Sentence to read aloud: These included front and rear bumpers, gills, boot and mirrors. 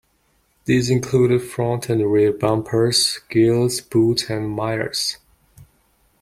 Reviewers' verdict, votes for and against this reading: rejected, 1, 2